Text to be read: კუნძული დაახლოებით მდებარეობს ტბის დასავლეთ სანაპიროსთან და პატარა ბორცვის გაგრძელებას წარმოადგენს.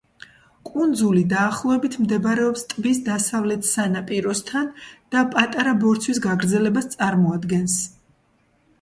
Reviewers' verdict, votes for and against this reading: rejected, 0, 2